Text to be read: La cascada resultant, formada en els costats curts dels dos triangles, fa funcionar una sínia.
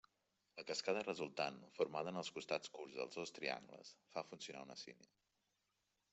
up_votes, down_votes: 2, 1